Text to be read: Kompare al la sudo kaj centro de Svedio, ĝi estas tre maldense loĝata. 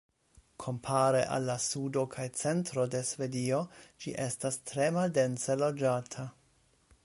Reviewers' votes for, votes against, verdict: 2, 0, accepted